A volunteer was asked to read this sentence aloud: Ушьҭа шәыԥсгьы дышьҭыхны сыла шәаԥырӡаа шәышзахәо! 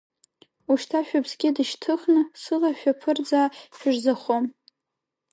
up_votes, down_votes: 1, 2